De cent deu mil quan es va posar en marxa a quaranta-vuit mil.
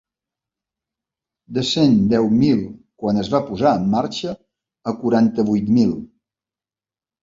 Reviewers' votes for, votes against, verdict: 3, 0, accepted